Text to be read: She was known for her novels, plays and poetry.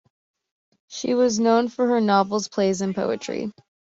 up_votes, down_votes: 2, 0